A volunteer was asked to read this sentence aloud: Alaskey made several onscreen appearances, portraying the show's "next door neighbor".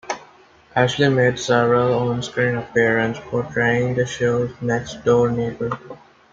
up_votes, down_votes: 1, 2